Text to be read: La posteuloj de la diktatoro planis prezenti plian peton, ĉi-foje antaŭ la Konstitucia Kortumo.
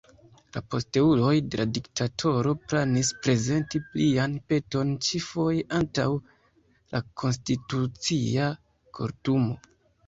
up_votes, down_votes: 0, 2